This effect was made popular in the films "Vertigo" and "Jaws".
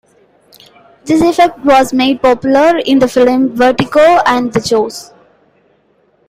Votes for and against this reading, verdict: 0, 2, rejected